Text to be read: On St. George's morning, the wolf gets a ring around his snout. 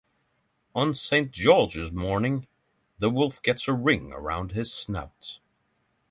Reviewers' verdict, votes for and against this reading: accepted, 3, 0